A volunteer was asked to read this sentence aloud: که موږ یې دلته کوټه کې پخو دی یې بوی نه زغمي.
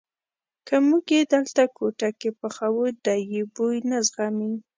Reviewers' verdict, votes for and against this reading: accepted, 2, 0